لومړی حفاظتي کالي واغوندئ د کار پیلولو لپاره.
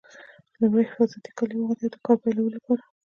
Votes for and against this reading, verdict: 1, 2, rejected